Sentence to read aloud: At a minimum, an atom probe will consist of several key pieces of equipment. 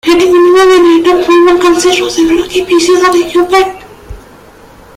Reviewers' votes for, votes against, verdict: 0, 3, rejected